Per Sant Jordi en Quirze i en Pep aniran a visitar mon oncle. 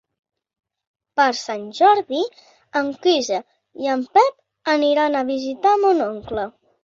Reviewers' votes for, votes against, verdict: 2, 0, accepted